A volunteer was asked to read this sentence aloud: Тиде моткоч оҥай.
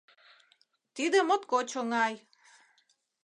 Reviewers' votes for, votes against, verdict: 2, 0, accepted